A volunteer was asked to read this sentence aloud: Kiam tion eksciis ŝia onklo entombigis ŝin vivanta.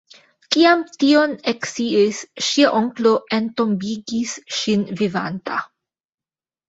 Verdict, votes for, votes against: rejected, 1, 3